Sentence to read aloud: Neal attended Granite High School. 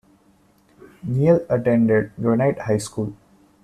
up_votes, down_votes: 2, 0